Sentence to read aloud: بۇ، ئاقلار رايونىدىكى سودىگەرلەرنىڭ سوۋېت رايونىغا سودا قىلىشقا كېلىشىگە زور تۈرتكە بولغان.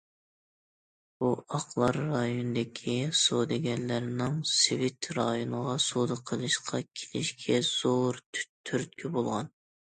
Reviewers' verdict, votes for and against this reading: rejected, 0, 2